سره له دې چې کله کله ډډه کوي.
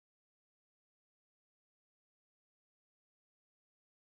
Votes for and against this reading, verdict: 1, 2, rejected